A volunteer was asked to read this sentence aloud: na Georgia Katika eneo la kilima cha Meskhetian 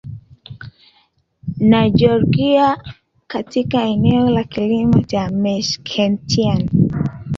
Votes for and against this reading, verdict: 0, 2, rejected